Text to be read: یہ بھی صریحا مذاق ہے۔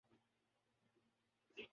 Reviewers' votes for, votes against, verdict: 1, 5, rejected